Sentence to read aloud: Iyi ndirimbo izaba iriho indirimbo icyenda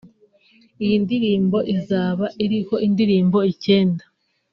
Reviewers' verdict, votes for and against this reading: accepted, 3, 0